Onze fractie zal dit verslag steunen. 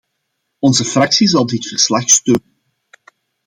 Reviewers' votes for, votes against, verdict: 0, 2, rejected